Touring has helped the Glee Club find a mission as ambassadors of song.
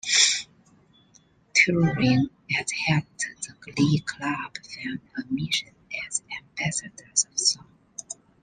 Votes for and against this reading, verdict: 1, 2, rejected